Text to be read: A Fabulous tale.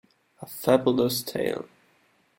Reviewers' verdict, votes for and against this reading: accepted, 2, 0